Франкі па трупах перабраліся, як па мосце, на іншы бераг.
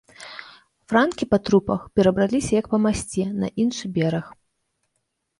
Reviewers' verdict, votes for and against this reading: rejected, 1, 2